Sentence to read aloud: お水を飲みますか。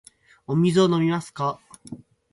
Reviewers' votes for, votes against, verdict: 4, 0, accepted